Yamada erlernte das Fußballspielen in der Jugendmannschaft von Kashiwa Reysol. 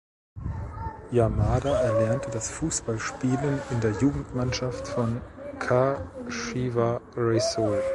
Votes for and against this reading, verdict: 1, 2, rejected